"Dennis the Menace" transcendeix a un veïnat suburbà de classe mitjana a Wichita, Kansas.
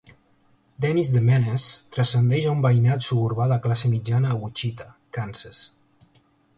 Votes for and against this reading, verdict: 2, 0, accepted